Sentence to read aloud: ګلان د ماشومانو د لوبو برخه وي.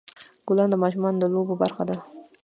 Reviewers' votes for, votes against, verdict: 2, 0, accepted